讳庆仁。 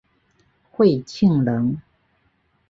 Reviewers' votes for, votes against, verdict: 2, 1, accepted